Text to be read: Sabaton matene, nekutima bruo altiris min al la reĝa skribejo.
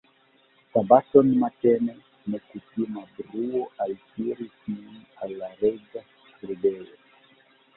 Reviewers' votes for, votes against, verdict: 0, 2, rejected